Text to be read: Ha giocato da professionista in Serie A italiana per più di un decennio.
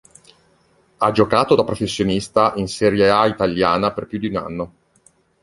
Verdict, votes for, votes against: rejected, 0, 2